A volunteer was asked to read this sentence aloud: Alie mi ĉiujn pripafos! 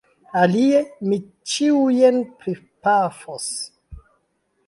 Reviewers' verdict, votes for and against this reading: accepted, 3, 0